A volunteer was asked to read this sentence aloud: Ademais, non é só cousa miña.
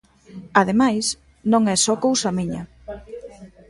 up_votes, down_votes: 1, 2